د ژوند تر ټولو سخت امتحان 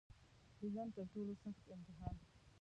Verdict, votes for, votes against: rejected, 0, 2